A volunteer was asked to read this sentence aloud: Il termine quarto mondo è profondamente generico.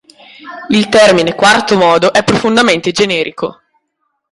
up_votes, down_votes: 1, 2